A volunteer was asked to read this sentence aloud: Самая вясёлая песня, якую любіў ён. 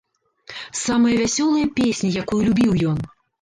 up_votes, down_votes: 2, 0